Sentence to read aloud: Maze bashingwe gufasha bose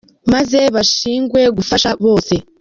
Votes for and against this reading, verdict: 0, 2, rejected